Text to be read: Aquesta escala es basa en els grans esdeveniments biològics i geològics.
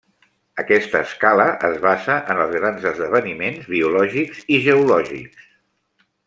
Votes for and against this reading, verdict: 3, 1, accepted